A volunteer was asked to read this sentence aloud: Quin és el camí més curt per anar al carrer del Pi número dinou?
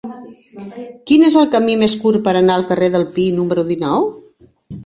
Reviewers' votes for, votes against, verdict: 0, 2, rejected